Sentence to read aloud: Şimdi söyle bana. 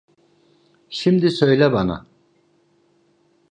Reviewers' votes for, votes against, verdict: 2, 0, accepted